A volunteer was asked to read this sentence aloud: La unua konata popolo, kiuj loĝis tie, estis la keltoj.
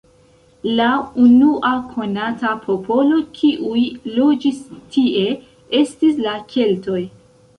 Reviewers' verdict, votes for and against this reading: accepted, 2, 0